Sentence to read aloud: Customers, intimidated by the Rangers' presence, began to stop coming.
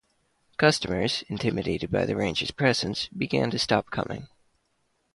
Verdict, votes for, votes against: accepted, 2, 0